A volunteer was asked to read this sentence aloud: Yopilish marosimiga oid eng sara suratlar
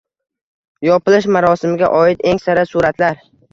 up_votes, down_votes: 2, 0